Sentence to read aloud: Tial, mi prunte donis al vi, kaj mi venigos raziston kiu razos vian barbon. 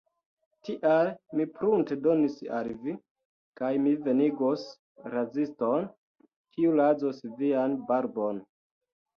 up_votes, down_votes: 2, 1